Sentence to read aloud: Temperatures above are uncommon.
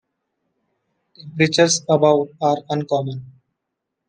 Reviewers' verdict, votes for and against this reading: accepted, 2, 0